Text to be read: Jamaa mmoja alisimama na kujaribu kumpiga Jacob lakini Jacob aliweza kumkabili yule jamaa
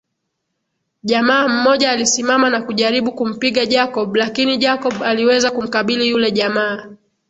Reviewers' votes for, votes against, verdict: 2, 0, accepted